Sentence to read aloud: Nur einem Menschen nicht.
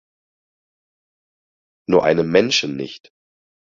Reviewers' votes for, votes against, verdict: 4, 0, accepted